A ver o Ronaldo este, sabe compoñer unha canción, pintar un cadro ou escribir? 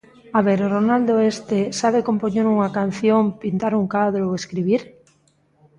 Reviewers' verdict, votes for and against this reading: rejected, 1, 2